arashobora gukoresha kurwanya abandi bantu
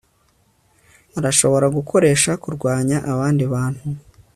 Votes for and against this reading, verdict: 2, 0, accepted